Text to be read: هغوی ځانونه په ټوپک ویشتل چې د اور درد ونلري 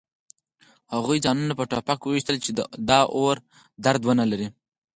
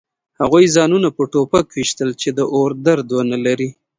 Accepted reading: second